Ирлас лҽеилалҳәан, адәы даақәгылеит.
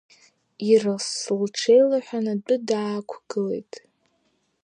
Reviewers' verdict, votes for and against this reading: accepted, 3, 1